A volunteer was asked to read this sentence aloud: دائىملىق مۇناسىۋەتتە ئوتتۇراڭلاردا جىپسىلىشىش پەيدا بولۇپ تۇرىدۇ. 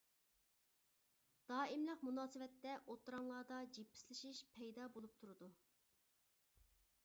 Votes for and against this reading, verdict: 0, 2, rejected